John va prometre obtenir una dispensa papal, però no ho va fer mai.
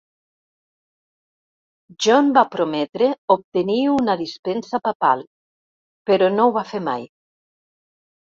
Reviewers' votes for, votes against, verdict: 2, 0, accepted